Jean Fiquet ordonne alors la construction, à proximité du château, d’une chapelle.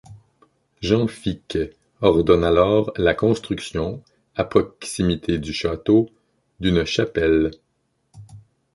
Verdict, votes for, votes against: rejected, 0, 2